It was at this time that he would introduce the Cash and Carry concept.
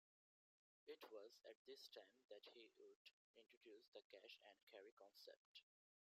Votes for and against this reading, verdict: 0, 2, rejected